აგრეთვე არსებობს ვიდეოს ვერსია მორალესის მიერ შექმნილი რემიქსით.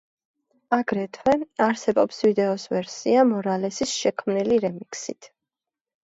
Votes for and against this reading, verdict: 0, 2, rejected